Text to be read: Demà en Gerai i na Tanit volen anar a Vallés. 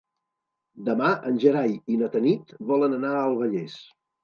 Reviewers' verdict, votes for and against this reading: rejected, 0, 2